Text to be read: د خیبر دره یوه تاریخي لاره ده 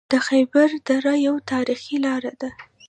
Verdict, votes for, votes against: rejected, 1, 2